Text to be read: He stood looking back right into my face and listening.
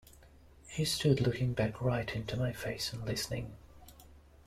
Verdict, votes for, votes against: accepted, 2, 0